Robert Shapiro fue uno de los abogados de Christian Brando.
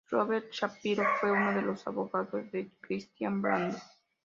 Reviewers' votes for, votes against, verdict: 2, 1, accepted